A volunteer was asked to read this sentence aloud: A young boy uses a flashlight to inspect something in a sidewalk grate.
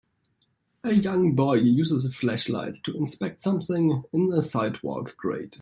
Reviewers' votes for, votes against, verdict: 2, 1, accepted